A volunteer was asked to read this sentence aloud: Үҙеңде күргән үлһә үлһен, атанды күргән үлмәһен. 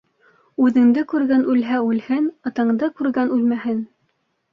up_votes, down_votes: 2, 0